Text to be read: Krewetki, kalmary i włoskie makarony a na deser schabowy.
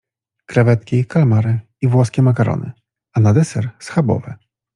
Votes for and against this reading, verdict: 2, 0, accepted